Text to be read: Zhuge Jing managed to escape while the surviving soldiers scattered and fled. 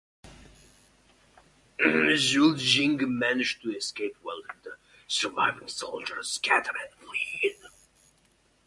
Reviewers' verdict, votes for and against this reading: rejected, 0, 2